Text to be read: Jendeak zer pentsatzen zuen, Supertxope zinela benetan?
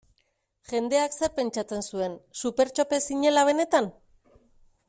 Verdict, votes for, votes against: accepted, 2, 0